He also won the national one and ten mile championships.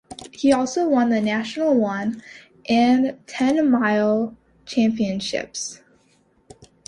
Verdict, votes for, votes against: accepted, 2, 0